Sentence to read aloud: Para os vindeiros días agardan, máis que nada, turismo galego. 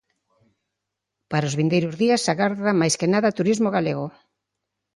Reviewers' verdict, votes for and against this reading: accepted, 3, 0